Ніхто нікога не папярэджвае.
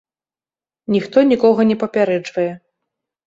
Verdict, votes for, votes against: accepted, 2, 0